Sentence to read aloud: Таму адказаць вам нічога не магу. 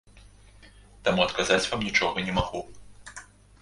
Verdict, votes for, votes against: accepted, 2, 0